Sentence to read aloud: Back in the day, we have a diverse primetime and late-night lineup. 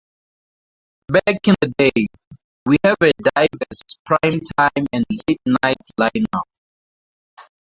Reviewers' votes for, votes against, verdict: 0, 4, rejected